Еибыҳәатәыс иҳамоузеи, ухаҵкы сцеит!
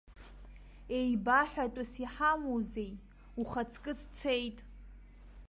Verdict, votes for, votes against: rejected, 0, 2